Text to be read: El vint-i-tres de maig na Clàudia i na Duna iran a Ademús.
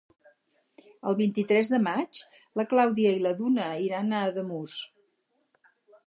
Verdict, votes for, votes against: rejected, 2, 4